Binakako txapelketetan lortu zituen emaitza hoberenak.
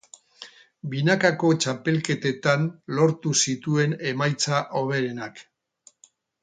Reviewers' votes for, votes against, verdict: 2, 2, rejected